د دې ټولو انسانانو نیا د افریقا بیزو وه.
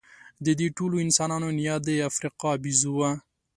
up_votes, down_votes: 2, 0